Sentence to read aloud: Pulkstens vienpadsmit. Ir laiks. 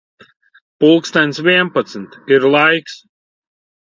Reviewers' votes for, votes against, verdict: 2, 0, accepted